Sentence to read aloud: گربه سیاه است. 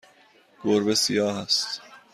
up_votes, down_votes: 2, 0